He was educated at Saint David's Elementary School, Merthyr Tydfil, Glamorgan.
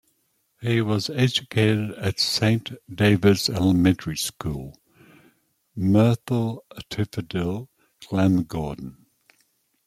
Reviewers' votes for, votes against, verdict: 0, 2, rejected